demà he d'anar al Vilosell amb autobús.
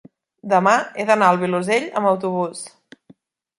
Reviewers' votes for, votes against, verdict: 3, 0, accepted